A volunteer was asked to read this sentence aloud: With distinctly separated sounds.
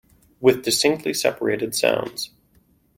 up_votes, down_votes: 2, 0